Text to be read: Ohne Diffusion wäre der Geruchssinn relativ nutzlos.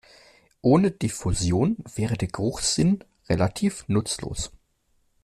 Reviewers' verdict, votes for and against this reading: accepted, 2, 0